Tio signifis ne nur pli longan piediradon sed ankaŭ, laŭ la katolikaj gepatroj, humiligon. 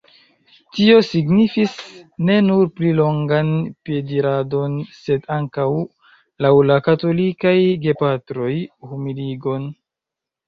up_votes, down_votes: 2, 0